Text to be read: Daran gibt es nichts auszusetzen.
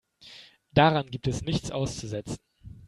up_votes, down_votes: 2, 0